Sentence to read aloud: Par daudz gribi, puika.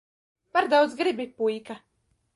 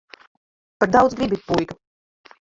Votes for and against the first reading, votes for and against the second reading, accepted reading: 2, 0, 1, 3, first